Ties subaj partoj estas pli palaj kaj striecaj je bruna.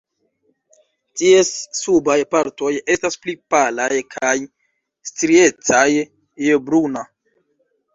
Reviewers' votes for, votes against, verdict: 2, 1, accepted